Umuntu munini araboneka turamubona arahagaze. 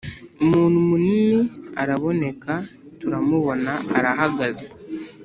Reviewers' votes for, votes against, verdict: 2, 0, accepted